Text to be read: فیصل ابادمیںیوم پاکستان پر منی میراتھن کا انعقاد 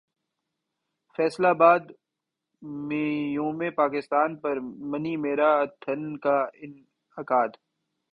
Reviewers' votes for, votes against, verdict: 1, 2, rejected